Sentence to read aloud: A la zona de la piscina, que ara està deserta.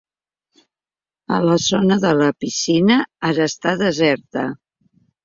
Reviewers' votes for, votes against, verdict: 0, 2, rejected